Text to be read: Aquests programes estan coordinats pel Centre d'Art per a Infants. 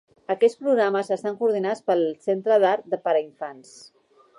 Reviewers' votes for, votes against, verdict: 0, 2, rejected